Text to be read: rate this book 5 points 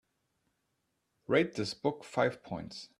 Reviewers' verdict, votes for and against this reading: rejected, 0, 2